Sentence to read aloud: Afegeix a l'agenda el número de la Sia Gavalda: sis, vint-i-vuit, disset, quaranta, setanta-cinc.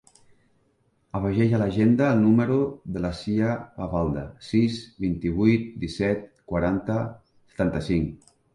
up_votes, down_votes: 1, 2